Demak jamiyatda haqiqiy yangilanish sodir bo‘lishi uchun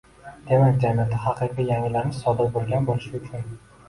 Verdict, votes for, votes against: rejected, 0, 2